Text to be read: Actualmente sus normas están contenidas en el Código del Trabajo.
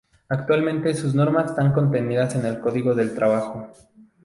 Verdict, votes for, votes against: rejected, 0, 2